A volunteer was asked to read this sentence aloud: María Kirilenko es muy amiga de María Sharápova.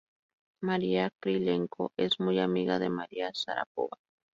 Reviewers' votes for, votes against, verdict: 2, 2, rejected